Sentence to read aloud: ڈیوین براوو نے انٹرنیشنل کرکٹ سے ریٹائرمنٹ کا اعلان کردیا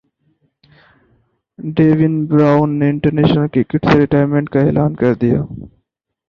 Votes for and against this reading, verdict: 6, 0, accepted